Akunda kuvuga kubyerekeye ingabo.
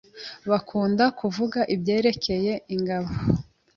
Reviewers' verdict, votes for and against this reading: rejected, 0, 2